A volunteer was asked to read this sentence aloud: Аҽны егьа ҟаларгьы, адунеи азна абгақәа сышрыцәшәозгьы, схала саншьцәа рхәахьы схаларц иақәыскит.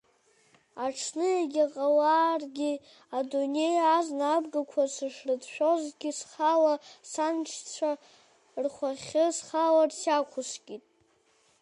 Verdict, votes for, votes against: rejected, 0, 2